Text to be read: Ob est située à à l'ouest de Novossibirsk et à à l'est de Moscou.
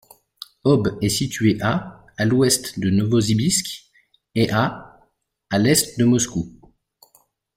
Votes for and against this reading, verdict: 2, 1, accepted